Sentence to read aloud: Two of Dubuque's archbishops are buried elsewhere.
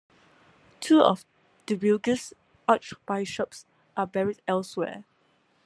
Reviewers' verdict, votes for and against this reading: rejected, 0, 2